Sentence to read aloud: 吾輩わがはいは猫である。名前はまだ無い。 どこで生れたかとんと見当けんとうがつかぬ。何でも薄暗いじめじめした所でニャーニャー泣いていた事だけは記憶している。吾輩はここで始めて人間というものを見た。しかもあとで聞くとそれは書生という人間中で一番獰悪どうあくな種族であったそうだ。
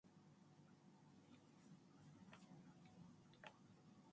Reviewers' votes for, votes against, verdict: 1, 4, rejected